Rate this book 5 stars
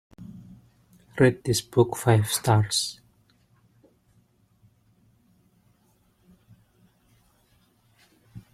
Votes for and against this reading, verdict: 0, 2, rejected